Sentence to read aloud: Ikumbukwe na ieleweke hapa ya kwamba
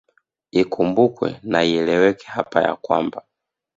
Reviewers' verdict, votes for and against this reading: accepted, 2, 0